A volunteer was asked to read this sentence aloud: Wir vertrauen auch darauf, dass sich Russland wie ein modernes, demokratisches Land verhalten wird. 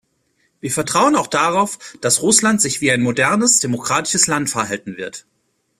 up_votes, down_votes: 0, 2